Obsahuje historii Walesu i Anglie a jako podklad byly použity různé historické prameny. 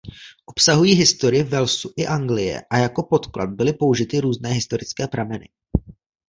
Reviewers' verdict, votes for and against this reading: rejected, 1, 2